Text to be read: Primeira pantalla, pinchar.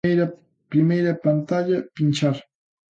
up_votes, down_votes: 0, 2